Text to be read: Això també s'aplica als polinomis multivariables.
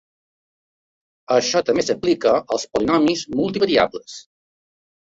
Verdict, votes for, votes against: accepted, 2, 1